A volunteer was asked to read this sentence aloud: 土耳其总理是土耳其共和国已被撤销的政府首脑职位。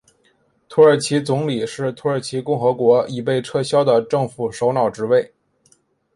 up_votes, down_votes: 2, 0